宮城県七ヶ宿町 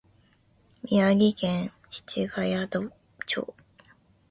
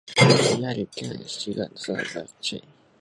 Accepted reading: first